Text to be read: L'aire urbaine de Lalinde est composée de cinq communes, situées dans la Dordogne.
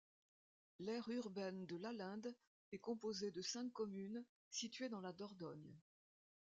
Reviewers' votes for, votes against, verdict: 0, 2, rejected